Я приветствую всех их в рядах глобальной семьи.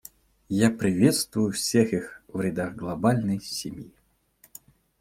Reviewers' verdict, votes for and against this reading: accepted, 2, 0